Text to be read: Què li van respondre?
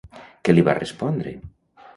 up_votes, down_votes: 0, 2